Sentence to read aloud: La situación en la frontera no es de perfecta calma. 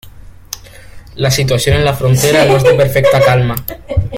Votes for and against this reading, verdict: 1, 2, rejected